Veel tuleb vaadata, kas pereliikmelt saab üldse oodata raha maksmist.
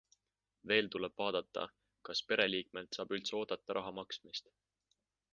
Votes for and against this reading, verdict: 2, 0, accepted